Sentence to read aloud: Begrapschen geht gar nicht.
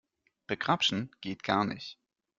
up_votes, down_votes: 2, 0